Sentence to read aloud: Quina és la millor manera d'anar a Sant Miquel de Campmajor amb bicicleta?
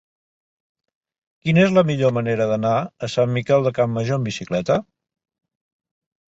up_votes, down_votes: 5, 1